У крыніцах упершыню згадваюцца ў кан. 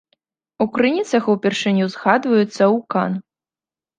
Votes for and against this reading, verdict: 2, 0, accepted